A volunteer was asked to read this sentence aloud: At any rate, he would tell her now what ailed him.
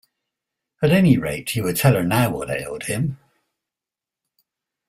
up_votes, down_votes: 2, 0